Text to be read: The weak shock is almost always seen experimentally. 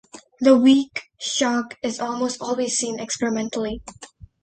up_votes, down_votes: 2, 0